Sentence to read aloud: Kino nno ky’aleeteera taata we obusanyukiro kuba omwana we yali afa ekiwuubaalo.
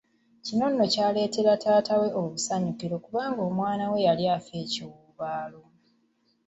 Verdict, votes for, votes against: accepted, 2, 0